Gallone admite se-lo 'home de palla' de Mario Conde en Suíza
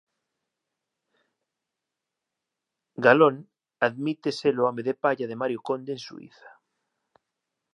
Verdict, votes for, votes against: rejected, 1, 2